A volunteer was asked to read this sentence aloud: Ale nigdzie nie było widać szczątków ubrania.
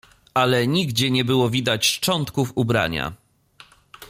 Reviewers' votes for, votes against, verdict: 2, 0, accepted